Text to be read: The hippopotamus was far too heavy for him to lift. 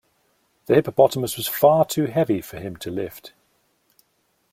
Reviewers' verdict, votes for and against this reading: accepted, 2, 0